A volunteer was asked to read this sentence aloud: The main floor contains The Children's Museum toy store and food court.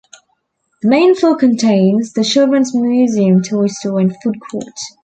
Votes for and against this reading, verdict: 2, 0, accepted